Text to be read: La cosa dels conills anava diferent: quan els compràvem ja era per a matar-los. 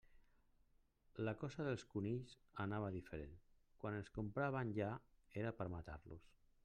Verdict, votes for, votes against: rejected, 1, 2